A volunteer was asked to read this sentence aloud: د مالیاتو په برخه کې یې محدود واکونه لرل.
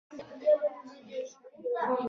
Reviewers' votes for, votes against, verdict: 1, 2, rejected